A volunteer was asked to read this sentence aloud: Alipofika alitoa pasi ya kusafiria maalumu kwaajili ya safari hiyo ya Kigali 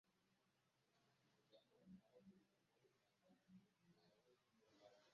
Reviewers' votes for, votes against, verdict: 0, 2, rejected